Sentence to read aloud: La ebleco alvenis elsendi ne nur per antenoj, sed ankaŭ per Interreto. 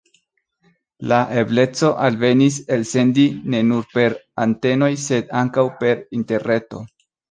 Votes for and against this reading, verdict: 2, 0, accepted